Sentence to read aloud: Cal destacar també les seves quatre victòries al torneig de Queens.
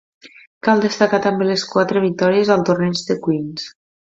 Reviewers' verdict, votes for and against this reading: rejected, 0, 2